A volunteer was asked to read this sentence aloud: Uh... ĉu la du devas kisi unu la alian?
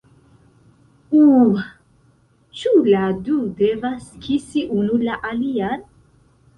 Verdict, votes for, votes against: accepted, 2, 0